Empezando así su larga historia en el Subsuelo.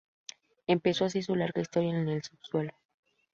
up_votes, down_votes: 0, 2